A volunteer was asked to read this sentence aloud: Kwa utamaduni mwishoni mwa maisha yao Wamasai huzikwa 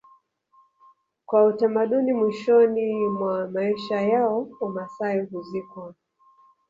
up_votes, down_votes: 1, 2